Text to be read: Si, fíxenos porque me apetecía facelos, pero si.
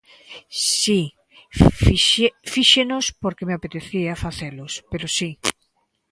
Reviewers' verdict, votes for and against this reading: rejected, 0, 2